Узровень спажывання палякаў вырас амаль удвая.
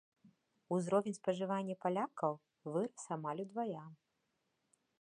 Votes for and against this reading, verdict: 3, 0, accepted